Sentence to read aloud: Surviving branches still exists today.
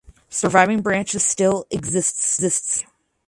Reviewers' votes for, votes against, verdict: 0, 2, rejected